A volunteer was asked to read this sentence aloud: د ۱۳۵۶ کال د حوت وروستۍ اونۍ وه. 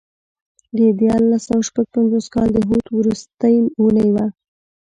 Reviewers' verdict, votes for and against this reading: rejected, 0, 2